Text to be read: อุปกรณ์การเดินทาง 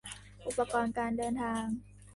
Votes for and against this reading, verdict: 3, 1, accepted